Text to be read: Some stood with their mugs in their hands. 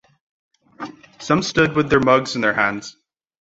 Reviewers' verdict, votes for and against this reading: accepted, 2, 0